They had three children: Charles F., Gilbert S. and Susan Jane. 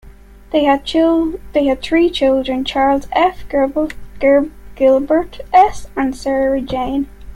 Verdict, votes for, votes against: rejected, 1, 2